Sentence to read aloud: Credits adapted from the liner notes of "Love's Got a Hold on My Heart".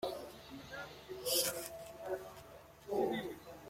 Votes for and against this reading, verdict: 0, 2, rejected